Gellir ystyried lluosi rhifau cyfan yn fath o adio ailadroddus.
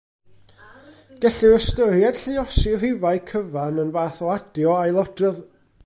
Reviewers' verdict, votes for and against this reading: rejected, 0, 2